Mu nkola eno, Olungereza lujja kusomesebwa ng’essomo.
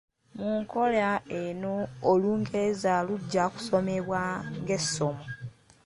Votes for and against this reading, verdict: 1, 2, rejected